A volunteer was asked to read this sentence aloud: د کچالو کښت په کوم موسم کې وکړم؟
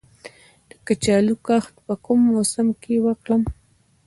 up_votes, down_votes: 0, 2